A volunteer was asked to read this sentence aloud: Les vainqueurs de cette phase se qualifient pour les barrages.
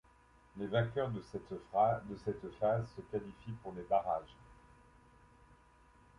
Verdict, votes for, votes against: rejected, 1, 2